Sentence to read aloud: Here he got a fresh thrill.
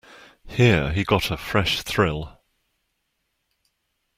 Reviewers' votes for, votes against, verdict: 2, 0, accepted